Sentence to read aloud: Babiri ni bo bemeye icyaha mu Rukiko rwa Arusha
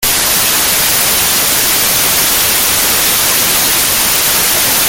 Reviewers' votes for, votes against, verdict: 0, 3, rejected